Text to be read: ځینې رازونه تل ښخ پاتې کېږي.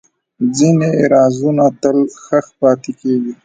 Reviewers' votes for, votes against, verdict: 1, 2, rejected